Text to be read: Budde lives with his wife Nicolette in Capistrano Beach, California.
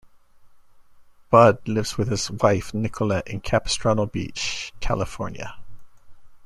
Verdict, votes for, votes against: accepted, 2, 0